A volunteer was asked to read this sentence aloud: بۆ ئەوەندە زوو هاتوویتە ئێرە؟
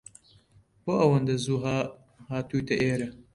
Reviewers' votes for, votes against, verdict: 1, 2, rejected